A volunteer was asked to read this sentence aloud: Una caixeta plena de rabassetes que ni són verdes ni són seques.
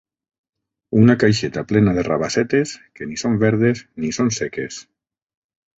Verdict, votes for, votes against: accepted, 3, 0